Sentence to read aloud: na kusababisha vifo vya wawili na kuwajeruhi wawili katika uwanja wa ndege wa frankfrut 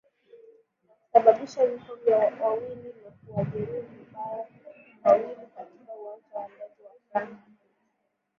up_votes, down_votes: 3, 5